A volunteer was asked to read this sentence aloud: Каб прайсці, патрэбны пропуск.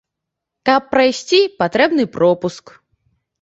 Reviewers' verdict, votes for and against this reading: accepted, 2, 0